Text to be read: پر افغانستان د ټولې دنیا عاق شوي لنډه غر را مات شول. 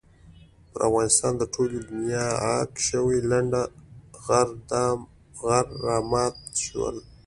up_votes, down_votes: 2, 0